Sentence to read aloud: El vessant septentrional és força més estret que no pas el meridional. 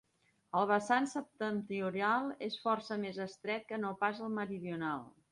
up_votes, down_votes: 1, 2